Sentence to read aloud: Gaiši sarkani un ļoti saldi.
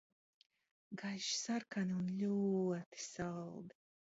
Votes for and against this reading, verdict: 2, 1, accepted